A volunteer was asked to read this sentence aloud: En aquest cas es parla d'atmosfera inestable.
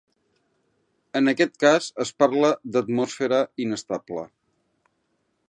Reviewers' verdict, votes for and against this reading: rejected, 1, 2